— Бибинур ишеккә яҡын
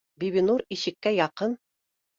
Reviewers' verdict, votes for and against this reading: accepted, 2, 0